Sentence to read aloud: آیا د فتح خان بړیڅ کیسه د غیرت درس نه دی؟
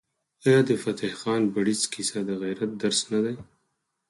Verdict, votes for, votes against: rejected, 2, 4